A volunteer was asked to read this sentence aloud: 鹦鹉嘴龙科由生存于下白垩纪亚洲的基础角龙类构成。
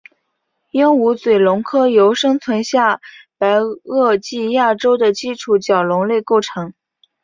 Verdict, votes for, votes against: accepted, 3, 1